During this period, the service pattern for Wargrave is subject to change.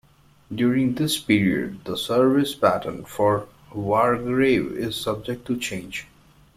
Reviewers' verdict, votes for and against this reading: rejected, 1, 2